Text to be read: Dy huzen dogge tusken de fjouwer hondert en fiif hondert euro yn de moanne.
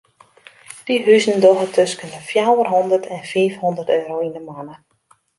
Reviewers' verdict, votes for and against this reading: accepted, 2, 0